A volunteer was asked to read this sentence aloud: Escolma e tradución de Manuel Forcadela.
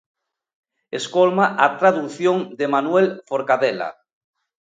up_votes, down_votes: 0, 2